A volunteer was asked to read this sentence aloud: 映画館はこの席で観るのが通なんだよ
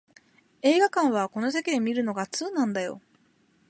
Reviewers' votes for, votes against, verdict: 2, 0, accepted